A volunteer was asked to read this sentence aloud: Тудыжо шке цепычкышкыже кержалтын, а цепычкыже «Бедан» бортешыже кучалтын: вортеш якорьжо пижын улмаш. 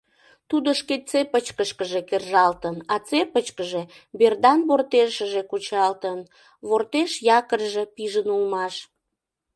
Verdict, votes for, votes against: rejected, 0, 2